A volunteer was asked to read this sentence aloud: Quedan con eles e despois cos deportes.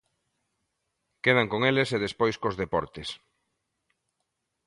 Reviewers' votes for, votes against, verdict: 2, 0, accepted